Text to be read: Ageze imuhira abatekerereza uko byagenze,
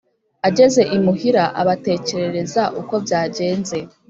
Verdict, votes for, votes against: accepted, 3, 0